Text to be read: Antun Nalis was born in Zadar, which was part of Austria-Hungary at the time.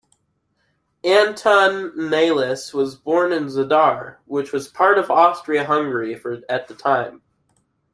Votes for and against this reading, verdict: 2, 1, accepted